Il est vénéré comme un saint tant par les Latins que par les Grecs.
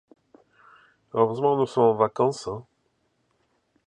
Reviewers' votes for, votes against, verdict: 0, 2, rejected